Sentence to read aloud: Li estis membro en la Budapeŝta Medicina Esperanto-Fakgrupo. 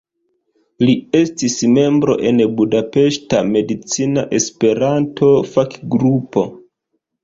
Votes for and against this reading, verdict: 1, 2, rejected